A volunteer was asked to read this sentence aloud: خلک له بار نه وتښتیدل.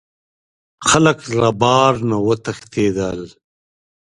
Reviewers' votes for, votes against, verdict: 2, 0, accepted